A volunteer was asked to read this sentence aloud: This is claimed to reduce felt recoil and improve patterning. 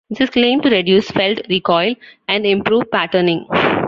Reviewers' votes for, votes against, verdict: 2, 0, accepted